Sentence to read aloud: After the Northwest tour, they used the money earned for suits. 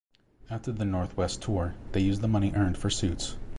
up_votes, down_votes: 2, 0